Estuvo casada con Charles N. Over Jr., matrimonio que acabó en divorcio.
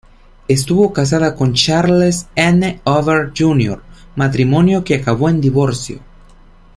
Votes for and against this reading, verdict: 2, 0, accepted